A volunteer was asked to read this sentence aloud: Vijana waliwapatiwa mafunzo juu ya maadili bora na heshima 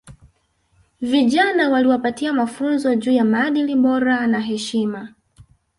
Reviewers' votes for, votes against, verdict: 2, 0, accepted